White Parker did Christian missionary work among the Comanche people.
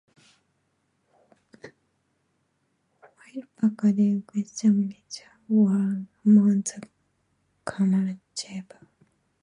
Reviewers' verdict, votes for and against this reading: rejected, 0, 2